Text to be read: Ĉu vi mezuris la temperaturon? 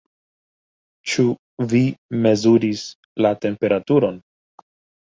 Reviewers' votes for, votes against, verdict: 2, 0, accepted